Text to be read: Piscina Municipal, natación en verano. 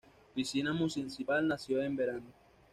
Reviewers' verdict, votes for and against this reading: rejected, 1, 2